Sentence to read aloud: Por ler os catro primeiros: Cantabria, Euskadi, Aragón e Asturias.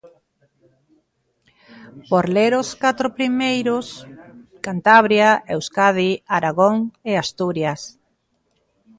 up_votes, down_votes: 1, 2